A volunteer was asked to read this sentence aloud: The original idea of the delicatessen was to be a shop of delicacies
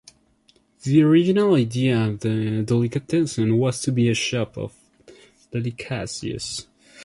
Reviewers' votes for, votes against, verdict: 1, 2, rejected